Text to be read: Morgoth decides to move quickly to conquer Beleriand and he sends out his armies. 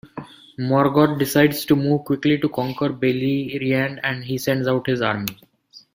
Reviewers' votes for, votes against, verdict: 1, 2, rejected